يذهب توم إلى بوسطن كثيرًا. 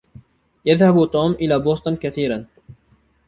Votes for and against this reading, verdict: 2, 0, accepted